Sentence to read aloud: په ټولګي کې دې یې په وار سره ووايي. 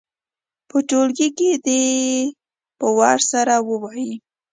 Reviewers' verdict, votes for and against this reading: accepted, 2, 0